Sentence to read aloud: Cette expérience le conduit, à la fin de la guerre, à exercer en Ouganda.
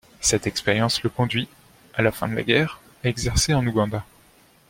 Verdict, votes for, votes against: accepted, 2, 0